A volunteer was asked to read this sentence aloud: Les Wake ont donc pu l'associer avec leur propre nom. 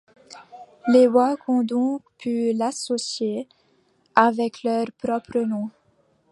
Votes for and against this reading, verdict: 0, 2, rejected